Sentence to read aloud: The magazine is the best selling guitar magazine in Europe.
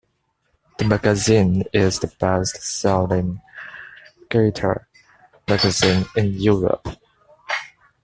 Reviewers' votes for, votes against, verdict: 2, 0, accepted